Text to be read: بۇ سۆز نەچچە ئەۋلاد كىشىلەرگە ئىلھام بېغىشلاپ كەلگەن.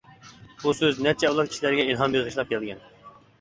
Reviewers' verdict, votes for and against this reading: rejected, 1, 2